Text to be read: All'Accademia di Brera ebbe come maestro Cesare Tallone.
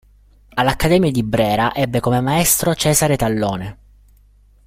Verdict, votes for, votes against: accepted, 2, 0